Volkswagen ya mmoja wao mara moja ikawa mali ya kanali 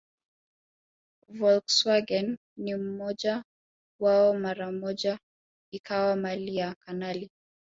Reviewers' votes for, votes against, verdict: 2, 0, accepted